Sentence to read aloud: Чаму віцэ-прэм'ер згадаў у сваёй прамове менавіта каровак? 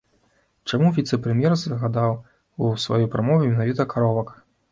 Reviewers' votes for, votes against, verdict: 2, 0, accepted